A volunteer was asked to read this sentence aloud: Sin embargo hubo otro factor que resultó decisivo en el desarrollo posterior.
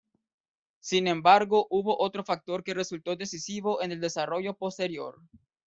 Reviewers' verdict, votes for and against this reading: rejected, 0, 2